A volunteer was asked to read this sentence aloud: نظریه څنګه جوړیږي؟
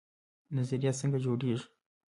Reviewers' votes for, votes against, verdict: 1, 2, rejected